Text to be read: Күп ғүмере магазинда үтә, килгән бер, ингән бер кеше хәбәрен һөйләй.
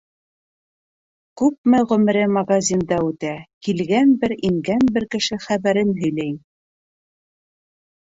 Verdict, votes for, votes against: rejected, 0, 2